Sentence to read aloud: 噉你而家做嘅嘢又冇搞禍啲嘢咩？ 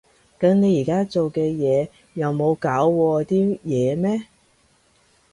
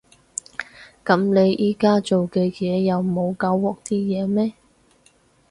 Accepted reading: first